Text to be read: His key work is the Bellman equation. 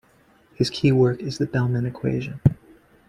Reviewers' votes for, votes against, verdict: 2, 1, accepted